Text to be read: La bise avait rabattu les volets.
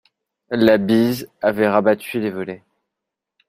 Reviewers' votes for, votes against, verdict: 2, 1, accepted